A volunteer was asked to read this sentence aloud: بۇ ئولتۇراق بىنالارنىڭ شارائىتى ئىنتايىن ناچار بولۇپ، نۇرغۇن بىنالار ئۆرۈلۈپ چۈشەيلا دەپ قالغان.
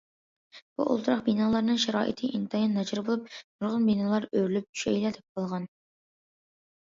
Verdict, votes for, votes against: accepted, 2, 0